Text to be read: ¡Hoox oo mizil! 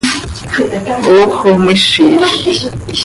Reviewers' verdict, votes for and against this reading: rejected, 1, 2